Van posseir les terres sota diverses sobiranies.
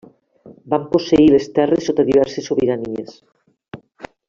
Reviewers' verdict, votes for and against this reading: rejected, 0, 2